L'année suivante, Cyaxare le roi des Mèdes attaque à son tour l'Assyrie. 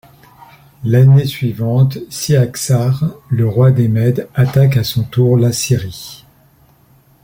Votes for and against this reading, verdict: 2, 0, accepted